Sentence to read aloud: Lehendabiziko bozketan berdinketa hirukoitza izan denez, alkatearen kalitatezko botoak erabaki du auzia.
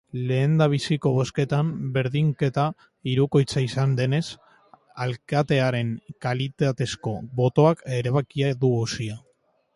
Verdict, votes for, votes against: rejected, 0, 3